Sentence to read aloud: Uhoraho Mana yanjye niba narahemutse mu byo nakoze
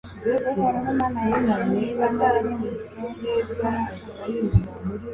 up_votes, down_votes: 1, 2